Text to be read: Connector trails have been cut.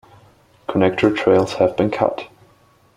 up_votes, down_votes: 2, 1